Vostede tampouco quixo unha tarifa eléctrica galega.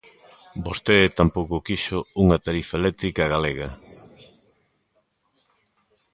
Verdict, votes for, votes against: accepted, 2, 0